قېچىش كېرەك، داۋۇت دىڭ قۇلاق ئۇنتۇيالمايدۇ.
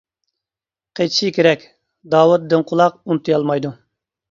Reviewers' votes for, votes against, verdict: 0, 2, rejected